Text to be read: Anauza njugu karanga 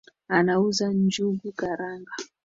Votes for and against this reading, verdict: 2, 1, accepted